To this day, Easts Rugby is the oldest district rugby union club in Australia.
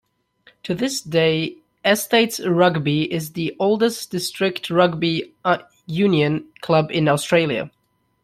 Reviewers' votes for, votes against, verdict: 0, 2, rejected